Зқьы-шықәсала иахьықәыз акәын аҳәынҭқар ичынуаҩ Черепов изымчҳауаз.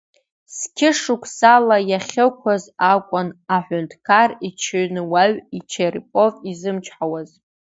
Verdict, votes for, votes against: rejected, 1, 2